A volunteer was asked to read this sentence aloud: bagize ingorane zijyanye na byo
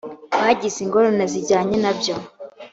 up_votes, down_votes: 2, 0